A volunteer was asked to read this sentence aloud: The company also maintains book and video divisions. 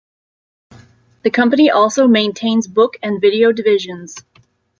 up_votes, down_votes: 2, 0